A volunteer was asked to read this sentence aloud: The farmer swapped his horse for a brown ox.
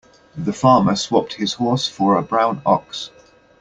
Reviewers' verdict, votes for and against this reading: accepted, 2, 0